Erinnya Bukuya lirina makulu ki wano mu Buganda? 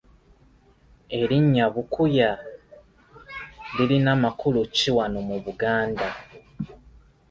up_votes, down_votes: 2, 0